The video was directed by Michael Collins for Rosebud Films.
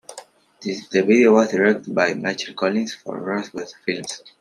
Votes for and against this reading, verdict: 2, 1, accepted